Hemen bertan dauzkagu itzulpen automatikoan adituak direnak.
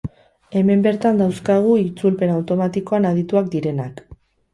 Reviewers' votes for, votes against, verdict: 0, 2, rejected